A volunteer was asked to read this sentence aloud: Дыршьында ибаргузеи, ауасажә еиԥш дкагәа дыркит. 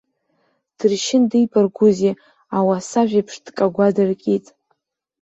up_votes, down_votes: 1, 2